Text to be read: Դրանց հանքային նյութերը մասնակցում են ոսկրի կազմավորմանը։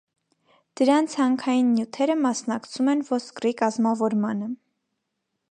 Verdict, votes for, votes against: accepted, 2, 0